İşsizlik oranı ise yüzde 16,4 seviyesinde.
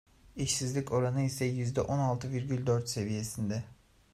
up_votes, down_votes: 0, 2